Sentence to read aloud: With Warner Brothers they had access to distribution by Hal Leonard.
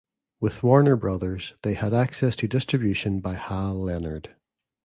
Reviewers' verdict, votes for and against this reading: accepted, 2, 0